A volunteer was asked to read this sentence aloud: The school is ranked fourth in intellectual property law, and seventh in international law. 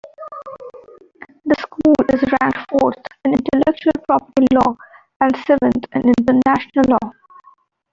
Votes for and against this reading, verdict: 2, 1, accepted